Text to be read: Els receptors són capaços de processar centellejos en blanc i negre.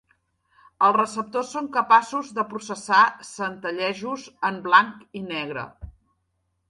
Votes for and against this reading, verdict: 3, 0, accepted